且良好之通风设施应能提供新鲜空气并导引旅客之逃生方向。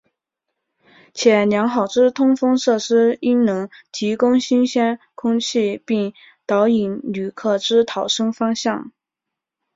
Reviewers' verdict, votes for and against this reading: accepted, 2, 0